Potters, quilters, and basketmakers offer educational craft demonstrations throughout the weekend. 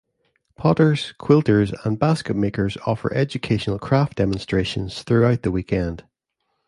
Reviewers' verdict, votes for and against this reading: accepted, 2, 0